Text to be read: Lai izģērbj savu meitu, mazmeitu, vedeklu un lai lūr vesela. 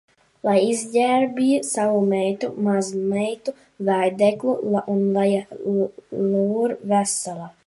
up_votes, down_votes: 0, 2